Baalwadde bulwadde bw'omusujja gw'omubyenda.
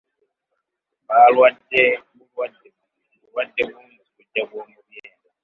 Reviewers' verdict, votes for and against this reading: rejected, 0, 2